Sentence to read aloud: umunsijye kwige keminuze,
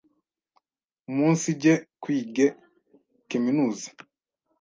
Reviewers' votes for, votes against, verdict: 1, 2, rejected